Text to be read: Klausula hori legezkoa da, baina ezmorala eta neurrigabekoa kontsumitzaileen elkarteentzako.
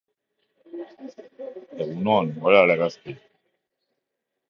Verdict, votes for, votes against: rejected, 0, 2